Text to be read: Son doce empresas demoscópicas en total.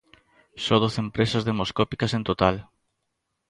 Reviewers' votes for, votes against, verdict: 0, 2, rejected